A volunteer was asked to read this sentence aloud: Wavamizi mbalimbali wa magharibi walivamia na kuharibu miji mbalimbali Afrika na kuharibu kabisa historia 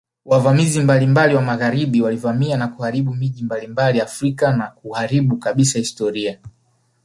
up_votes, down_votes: 3, 1